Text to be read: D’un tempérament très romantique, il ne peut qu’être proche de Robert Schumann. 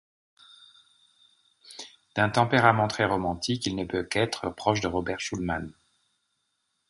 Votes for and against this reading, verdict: 1, 2, rejected